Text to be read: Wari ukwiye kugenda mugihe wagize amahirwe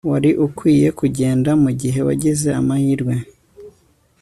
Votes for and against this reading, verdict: 2, 0, accepted